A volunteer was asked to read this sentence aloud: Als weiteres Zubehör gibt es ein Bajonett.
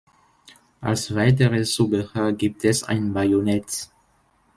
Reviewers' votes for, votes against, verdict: 1, 2, rejected